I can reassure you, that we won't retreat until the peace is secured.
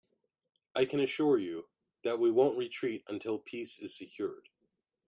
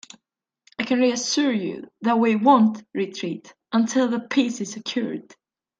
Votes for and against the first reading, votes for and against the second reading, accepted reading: 0, 2, 2, 0, second